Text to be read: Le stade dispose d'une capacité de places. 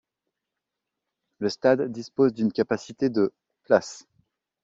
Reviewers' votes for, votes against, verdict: 2, 0, accepted